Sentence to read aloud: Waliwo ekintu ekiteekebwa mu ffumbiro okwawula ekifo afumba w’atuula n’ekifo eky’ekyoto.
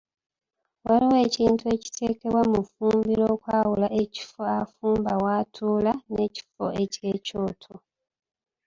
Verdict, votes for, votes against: rejected, 1, 2